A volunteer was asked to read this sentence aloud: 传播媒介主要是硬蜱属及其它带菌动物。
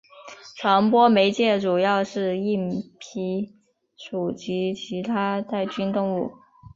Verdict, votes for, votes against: accepted, 3, 0